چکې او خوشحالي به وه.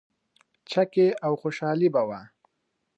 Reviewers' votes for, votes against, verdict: 3, 0, accepted